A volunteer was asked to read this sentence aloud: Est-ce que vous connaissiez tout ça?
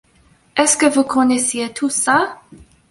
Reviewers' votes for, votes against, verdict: 2, 0, accepted